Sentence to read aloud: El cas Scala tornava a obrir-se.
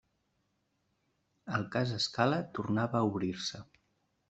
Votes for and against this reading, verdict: 2, 0, accepted